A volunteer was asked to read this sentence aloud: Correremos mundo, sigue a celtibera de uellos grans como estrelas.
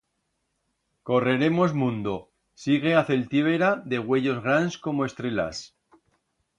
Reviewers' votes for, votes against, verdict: 1, 2, rejected